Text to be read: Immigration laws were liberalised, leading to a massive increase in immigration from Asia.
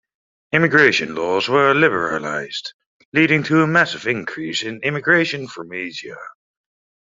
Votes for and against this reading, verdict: 2, 0, accepted